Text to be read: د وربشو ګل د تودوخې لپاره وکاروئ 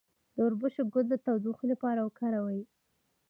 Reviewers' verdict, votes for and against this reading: accepted, 2, 0